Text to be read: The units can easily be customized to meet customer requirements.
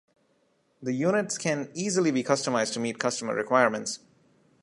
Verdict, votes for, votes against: rejected, 0, 2